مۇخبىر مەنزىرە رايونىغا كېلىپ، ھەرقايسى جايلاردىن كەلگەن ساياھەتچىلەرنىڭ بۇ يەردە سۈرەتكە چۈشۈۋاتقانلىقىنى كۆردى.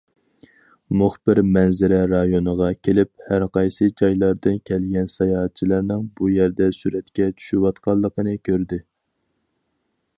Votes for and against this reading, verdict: 4, 0, accepted